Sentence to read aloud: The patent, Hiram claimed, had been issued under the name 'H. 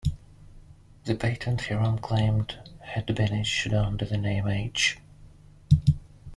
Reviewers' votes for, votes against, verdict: 0, 2, rejected